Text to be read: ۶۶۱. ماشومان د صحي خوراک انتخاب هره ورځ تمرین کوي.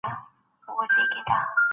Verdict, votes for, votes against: rejected, 0, 2